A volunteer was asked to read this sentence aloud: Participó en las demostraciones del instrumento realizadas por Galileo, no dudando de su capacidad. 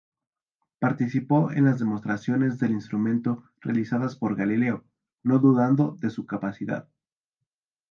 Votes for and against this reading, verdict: 2, 0, accepted